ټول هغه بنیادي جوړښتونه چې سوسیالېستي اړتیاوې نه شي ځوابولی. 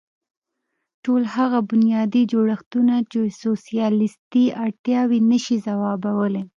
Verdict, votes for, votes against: accepted, 2, 0